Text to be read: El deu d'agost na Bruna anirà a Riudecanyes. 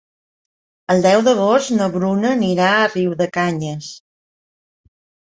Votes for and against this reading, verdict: 2, 0, accepted